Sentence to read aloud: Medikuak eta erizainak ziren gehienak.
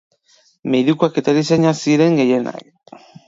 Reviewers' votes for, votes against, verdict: 2, 0, accepted